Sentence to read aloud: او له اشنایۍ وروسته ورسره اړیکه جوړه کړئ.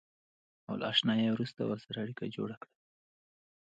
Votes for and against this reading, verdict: 2, 0, accepted